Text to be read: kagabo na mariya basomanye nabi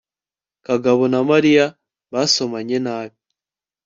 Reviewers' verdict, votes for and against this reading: accepted, 2, 0